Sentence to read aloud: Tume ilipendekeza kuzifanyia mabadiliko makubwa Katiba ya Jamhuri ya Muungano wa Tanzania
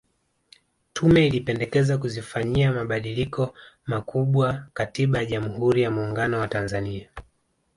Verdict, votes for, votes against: accepted, 2, 0